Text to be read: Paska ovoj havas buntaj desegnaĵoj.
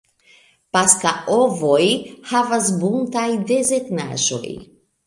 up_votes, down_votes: 1, 2